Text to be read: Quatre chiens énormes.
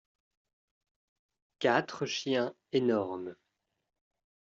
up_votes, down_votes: 2, 0